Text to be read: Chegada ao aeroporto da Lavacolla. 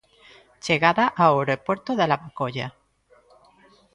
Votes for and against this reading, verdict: 0, 2, rejected